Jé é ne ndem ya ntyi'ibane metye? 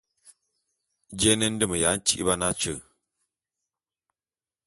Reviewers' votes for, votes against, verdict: 2, 1, accepted